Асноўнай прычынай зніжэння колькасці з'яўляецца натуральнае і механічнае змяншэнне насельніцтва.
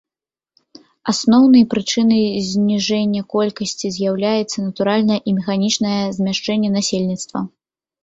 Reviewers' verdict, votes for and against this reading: rejected, 0, 2